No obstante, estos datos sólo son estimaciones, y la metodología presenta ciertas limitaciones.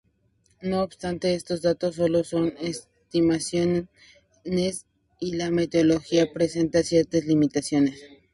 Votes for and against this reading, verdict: 0, 4, rejected